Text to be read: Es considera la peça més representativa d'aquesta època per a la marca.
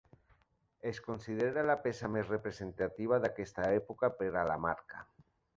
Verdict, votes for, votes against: accepted, 3, 0